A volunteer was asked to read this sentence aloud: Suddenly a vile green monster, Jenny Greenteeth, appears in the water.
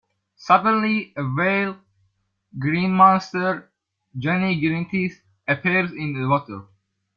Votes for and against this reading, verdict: 1, 2, rejected